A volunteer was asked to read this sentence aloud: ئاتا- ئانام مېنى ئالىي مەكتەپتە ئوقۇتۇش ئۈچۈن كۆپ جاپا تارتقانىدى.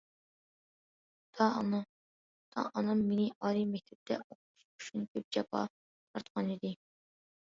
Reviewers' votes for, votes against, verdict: 1, 2, rejected